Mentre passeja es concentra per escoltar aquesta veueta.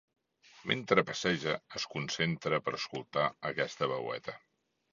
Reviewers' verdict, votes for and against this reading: accepted, 2, 0